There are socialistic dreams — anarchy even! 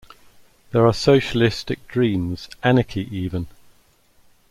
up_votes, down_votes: 2, 0